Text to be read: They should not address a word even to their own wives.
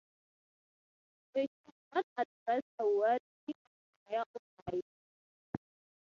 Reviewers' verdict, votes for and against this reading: rejected, 0, 6